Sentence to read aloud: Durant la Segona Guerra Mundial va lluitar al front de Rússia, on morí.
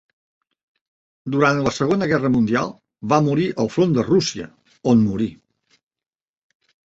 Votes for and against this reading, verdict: 0, 3, rejected